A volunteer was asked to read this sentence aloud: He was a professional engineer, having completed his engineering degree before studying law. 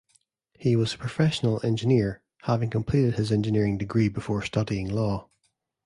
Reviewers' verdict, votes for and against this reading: accepted, 2, 0